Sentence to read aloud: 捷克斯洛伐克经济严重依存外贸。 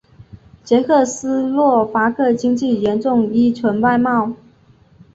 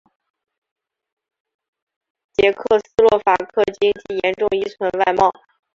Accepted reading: first